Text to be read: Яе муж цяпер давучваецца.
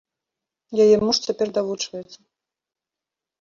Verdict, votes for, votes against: accepted, 2, 0